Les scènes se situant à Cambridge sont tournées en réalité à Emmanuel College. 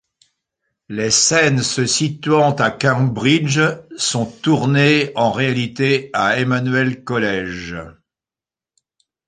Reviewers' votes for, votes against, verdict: 2, 0, accepted